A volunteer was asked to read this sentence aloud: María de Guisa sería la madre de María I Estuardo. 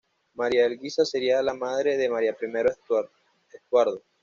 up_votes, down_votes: 1, 2